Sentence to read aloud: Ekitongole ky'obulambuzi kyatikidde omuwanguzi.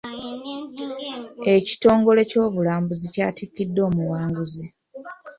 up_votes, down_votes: 2, 0